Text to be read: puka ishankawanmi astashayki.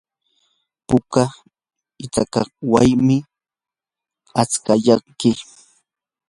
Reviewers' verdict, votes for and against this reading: rejected, 0, 2